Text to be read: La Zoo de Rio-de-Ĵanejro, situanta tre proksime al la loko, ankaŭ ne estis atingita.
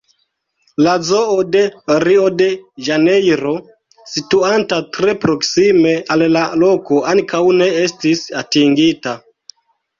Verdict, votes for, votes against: rejected, 0, 2